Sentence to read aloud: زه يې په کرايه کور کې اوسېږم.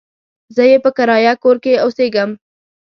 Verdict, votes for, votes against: accepted, 2, 0